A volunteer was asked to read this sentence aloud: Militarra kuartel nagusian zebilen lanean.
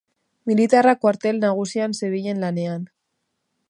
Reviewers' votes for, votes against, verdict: 6, 0, accepted